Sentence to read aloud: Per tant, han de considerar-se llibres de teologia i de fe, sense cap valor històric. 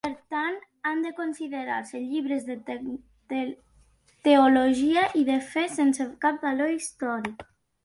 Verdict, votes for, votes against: rejected, 1, 2